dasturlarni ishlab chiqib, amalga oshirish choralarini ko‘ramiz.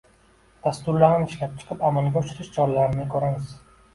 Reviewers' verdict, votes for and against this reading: accepted, 2, 1